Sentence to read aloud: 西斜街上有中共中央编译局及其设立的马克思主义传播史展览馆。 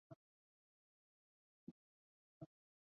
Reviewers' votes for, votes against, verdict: 1, 2, rejected